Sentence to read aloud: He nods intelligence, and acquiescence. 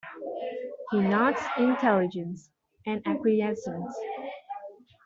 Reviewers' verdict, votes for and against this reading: accepted, 2, 0